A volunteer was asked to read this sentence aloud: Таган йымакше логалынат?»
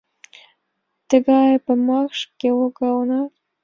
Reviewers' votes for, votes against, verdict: 1, 2, rejected